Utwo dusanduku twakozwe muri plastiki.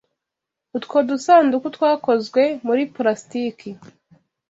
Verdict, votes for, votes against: accepted, 2, 0